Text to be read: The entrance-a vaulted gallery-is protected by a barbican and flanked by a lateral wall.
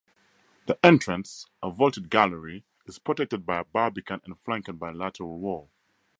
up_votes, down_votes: 2, 0